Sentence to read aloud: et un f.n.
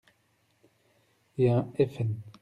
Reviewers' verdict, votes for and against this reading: accepted, 2, 0